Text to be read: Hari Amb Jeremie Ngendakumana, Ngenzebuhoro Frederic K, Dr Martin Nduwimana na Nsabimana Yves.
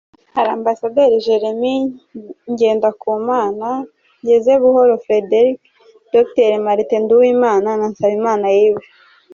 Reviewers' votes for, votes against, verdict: 1, 2, rejected